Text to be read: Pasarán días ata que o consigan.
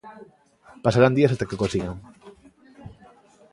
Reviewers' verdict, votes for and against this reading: accepted, 2, 0